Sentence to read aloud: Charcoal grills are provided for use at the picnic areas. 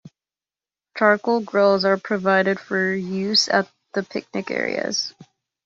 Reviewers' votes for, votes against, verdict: 2, 0, accepted